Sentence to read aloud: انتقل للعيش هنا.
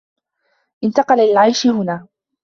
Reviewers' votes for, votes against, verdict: 2, 0, accepted